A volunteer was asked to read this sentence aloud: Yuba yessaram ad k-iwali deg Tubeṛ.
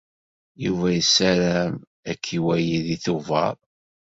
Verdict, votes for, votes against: accepted, 2, 0